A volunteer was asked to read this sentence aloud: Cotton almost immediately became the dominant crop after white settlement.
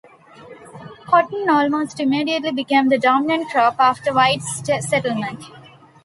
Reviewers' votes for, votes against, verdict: 1, 2, rejected